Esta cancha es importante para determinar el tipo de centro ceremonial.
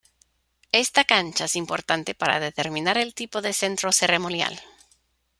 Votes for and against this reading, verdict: 2, 0, accepted